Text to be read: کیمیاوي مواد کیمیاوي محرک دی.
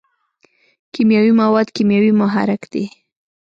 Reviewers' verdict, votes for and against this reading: accepted, 2, 0